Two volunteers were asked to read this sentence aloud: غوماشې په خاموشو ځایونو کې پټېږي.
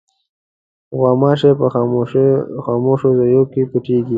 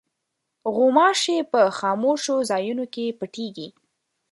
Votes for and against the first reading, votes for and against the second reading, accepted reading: 1, 2, 2, 0, second